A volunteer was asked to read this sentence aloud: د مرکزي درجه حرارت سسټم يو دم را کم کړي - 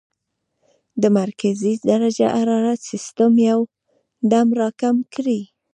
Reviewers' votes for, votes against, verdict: 1, 2, rejected